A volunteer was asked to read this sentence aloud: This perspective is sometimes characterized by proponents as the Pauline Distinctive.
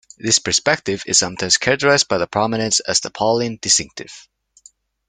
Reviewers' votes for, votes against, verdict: 0, 2, rejected